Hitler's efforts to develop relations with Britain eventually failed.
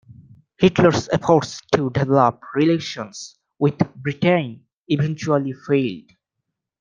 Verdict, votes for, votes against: rejected, 0, 2